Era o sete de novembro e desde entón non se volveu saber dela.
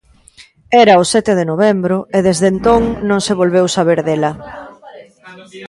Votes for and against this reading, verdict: 1, 2, rejected